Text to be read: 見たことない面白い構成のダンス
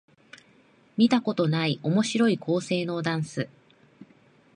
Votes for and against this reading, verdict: 2, 0, accepted